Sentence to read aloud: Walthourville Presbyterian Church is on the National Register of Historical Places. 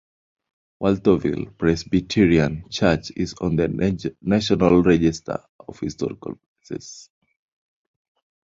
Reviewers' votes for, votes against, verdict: 2, 1, accepted